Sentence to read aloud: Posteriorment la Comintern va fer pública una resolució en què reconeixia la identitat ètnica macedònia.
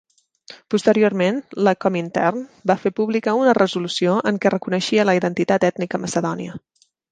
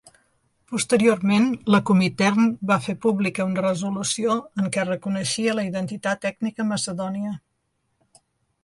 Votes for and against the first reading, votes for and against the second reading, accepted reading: 2, 0, 0, 2, first